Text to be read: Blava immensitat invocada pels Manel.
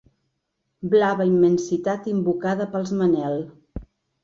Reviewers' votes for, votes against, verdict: 3, 0, accepted